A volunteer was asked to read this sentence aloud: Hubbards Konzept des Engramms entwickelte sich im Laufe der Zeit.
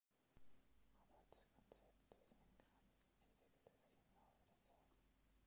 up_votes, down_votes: 1, 2